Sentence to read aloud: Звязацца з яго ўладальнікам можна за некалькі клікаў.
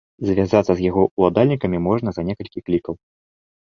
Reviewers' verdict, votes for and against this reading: rejected, 0, 2